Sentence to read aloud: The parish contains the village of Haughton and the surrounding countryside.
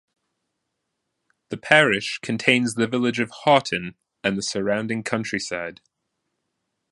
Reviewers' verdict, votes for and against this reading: accepted, 2, 0